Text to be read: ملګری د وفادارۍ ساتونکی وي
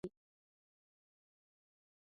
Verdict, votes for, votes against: rejected, 0, 2